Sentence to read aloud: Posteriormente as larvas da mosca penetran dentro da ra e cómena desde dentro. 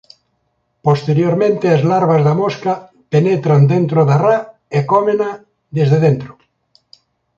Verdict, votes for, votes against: accepted, 2, 0